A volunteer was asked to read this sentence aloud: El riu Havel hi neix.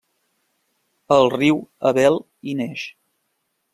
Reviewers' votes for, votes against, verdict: 1, 2, rejected